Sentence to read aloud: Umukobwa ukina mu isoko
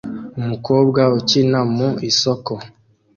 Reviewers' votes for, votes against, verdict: 2, 0, accepted